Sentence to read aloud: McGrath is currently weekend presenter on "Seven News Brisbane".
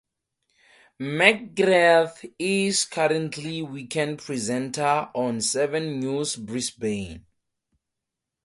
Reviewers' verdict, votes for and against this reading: accepted, 2, 0